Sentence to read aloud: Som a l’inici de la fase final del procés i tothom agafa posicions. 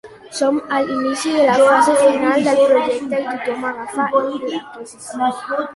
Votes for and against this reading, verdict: 0, 2, rejected